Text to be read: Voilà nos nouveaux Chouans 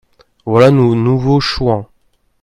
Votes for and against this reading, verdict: 0, 2, rejected